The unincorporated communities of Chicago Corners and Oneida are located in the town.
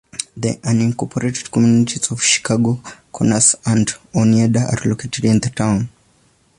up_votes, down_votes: 3, 0